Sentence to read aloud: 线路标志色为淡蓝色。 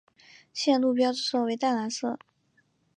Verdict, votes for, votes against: accepted, 3, 0